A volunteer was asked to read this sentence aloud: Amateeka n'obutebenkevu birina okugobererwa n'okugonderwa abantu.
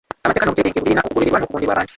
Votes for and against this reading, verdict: 0, 2, rejected